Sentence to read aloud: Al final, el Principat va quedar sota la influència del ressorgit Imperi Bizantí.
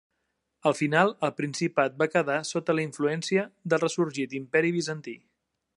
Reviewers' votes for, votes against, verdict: 2, 0, accepted